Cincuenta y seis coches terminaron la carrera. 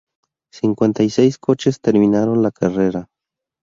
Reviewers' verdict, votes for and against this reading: rejected, 0, 2